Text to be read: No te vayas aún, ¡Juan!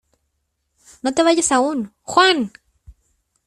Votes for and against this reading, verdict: 2, 0, accepted